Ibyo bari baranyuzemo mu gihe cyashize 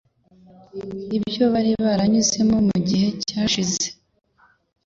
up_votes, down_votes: 2, 0